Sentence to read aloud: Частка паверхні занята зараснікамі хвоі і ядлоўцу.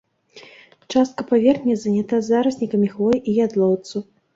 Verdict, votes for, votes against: rejected, 1, 2